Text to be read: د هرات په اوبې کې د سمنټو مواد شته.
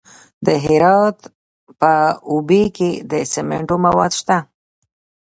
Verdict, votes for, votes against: rejected, 1, 3